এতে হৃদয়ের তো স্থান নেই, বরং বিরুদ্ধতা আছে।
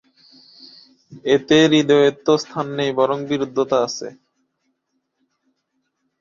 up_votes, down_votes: 1, 2